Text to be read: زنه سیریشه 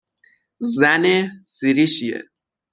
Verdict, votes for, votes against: rejected, 0, 3